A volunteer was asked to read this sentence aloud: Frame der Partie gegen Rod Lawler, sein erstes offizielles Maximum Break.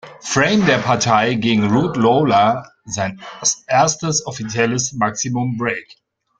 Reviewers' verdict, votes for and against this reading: rejected, 0, 2